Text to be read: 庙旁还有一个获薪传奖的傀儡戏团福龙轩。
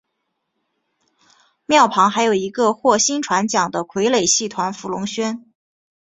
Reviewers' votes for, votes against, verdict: 3, 0, accepted